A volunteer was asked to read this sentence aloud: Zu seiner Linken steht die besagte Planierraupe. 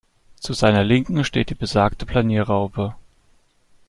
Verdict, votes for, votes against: accepted, 2, 0